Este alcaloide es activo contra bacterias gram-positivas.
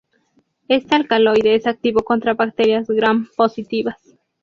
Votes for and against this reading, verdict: 4, 0, accepted